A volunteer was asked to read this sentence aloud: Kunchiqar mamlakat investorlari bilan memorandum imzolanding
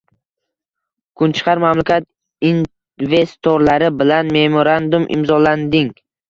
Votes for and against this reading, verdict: 1, 2, rejected